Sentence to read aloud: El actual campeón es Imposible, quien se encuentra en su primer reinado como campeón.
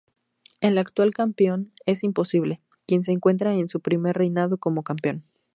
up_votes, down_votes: 0, 2